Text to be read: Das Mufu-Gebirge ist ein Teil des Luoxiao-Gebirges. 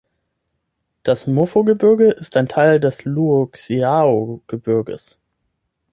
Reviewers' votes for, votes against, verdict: 3, 6, rejected